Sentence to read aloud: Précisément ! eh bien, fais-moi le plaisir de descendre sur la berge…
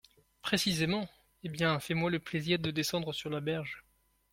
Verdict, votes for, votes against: accepted, 2, 0